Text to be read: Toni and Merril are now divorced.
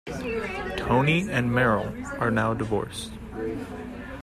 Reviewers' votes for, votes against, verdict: 2, 0, accepted